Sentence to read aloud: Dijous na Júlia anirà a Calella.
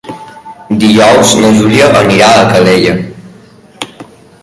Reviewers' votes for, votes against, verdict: 1, 2, rejected